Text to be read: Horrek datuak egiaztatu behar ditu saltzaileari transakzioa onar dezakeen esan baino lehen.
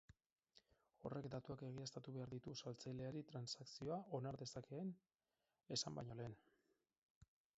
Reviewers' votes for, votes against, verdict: 4, 2, accepted